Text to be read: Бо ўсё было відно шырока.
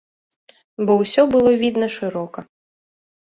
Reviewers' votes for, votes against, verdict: 2, 3, rejected